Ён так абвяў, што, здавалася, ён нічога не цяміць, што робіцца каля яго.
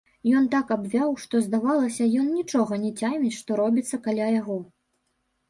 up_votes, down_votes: 1, 3